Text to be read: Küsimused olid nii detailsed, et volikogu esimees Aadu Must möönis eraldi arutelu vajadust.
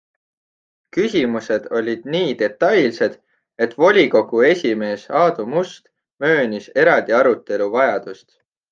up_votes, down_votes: 2, 0